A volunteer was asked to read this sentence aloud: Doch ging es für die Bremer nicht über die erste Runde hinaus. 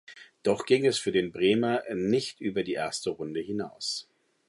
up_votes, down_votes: 0, 2